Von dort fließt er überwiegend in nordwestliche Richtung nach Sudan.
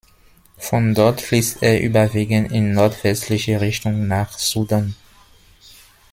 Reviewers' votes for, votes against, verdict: 2, 0, accepted